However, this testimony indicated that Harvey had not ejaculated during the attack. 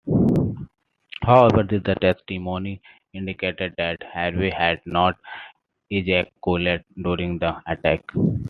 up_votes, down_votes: 2, 1